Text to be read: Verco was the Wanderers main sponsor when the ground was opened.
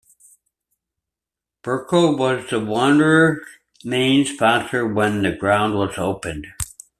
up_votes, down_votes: 2, 0